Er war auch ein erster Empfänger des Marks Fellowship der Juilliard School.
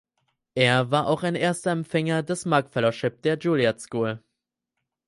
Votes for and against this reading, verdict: 2, 4, rejected